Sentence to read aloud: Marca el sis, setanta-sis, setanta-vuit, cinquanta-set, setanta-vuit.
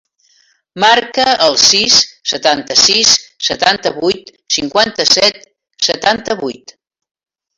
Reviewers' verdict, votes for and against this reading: accepted, 3, 0